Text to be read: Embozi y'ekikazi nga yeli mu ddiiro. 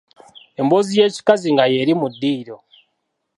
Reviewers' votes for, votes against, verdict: 2, 1, accepted